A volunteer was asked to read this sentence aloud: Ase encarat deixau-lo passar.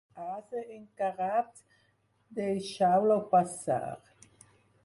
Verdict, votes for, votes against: rejected, 2, 4